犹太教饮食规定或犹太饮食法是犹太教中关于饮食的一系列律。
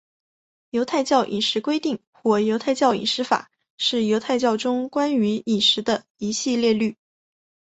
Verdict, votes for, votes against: accepted, 2, 1